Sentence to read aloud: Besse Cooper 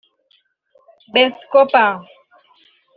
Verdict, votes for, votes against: rejected, 1, 2